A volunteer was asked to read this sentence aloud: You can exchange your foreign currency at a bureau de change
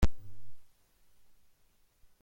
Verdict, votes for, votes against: rejected, 0, 2